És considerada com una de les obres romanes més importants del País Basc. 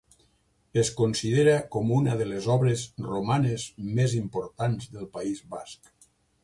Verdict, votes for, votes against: rejected, 0, 2